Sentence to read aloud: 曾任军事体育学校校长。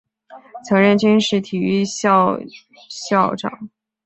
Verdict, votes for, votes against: rejected, 0, 2